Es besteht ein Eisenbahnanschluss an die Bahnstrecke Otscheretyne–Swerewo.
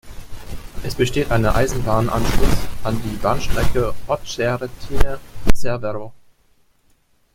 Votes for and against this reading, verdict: 0, 2, rejected